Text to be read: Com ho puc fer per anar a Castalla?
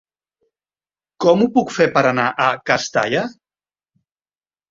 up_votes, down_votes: 3, 0